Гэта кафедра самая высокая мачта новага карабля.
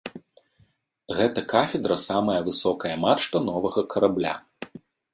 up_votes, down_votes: 2, 0